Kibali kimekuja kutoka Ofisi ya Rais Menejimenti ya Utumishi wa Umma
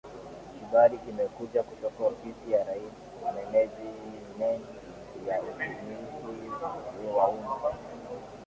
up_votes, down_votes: 2, 1